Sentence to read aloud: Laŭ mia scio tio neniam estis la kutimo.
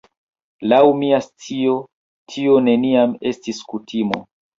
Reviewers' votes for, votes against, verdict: 2, 0, accepted